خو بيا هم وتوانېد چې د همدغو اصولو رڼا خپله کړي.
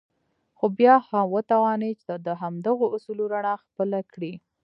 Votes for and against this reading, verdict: 0, 2, rejected